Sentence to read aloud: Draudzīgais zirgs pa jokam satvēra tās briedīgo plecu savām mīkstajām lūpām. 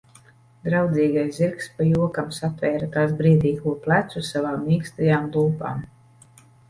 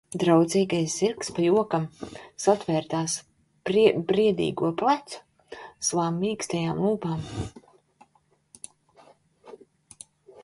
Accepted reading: first